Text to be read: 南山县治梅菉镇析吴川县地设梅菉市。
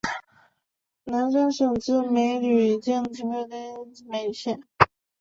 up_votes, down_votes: 2, 1